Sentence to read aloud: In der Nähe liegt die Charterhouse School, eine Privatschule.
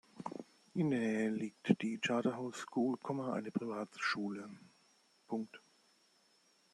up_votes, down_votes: 0, 2